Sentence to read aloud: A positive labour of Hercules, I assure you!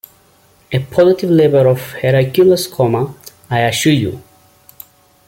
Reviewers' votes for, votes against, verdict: 0, 2, rejected